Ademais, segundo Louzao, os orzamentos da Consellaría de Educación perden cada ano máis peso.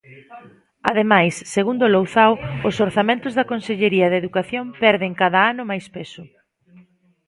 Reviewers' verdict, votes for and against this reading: rejected, 0, 2